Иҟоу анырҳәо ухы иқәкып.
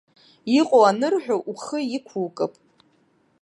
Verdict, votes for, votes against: rejected, 0, 2